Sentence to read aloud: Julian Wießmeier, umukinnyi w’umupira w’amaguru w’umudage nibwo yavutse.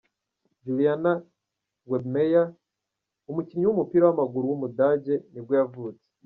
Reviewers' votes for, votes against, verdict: 0, 2, rejected